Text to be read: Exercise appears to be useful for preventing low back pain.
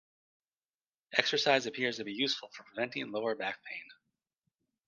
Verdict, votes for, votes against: rejected, 1, 2